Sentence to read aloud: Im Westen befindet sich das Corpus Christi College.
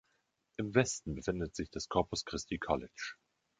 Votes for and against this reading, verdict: 2, 0, accepted